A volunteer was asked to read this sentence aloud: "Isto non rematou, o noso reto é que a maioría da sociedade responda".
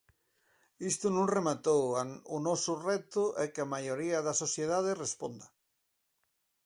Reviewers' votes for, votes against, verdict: 0, 4, rejected